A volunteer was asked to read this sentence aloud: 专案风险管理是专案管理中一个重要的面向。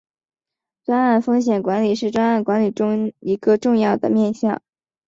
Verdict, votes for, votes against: accepted, 2, 0